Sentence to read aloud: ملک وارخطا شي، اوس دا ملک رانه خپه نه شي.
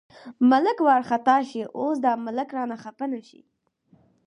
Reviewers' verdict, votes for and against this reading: accepted, 4, 0